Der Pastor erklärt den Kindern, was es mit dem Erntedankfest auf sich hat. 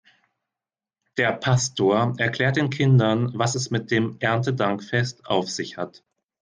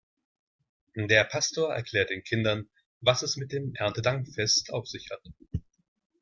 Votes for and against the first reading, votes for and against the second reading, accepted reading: 2, 0, 1, 2, first